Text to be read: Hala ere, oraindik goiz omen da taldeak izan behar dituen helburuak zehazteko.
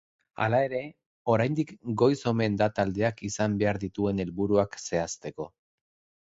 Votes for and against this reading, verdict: 2, 0, accepted